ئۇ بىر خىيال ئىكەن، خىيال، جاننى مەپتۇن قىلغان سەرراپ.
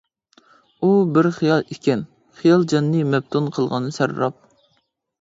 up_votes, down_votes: 2, 0